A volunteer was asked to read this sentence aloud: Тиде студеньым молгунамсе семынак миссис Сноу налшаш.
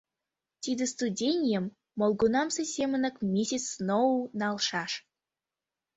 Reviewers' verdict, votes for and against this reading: rejected, 1, 2